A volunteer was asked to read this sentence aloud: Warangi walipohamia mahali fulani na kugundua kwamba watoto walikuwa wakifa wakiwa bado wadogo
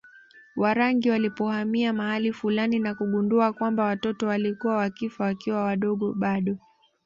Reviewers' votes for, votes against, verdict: 2, 0, accepted